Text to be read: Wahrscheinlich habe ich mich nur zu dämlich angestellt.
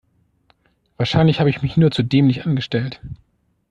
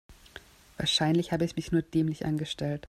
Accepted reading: first